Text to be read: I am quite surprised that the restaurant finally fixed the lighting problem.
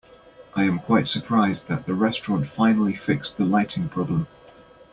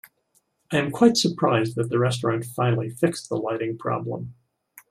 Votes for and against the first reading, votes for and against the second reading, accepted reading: 1, 2, 2, 0, second